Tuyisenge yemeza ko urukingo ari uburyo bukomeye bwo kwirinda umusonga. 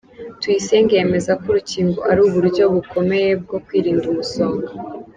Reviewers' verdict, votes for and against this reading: accepted, 2, 0